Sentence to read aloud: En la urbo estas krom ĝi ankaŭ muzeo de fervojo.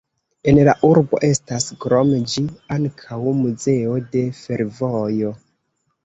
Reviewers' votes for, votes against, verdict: 2, 1, accepted